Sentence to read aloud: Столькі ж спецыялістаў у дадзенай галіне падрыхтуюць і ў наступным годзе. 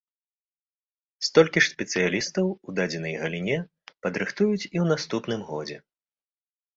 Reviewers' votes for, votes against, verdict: 2, 0, accepted